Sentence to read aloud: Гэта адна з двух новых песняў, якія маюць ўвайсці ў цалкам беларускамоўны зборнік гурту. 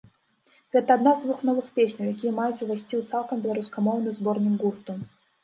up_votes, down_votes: 2, 0